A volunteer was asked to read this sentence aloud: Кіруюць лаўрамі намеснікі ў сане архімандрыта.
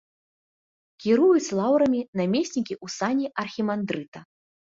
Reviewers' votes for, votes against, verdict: 2, 0, accepted